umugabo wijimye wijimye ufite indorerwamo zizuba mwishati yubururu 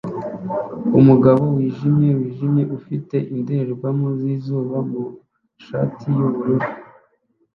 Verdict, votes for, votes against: rejected, 1, 2